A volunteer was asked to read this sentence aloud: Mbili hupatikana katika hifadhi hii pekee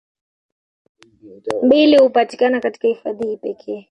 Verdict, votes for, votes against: accepted, 2, 1